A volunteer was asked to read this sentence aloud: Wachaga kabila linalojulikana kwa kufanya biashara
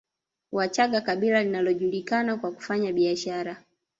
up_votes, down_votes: 3, 0